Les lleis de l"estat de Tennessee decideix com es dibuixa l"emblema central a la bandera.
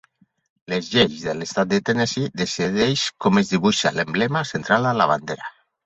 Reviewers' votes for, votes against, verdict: 4, 0, accepted